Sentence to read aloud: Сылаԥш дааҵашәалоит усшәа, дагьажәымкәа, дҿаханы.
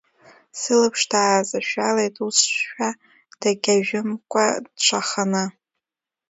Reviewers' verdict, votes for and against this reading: rejected, 1, 2